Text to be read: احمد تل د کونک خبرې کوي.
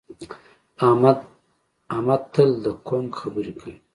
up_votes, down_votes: 2, 0